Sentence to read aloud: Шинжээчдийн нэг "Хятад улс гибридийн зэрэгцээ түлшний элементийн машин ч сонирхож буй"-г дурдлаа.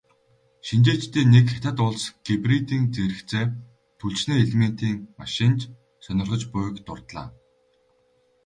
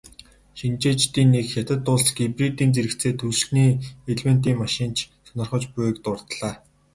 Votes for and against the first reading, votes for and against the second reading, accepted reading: 0, 2, 2, 0, second